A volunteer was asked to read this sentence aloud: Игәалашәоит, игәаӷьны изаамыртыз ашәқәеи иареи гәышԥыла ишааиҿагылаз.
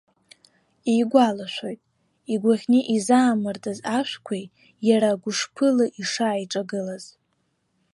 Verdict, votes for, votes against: rejected, 0, 2